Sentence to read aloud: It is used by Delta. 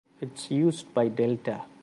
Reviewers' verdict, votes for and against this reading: rejected, 1, 2